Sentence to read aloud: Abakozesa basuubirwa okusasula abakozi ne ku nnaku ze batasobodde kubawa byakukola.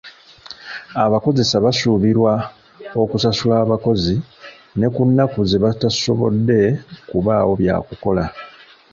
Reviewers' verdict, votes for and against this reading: rejected, 0, 2